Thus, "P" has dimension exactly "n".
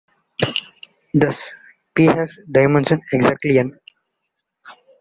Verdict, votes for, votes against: rejected, 1, 2